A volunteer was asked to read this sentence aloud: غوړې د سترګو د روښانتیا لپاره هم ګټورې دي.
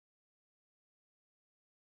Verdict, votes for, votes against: rejected, 0, 2